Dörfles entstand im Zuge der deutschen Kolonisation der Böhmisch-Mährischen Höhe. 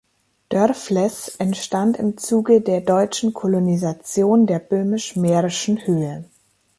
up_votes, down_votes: 2, 0